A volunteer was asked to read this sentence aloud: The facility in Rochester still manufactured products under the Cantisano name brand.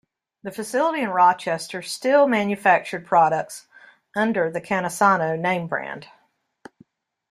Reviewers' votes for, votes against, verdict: 2, 0, accepted